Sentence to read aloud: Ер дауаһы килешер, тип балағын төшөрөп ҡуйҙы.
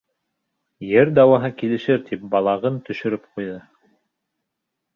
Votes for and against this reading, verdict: 0, 2, rejected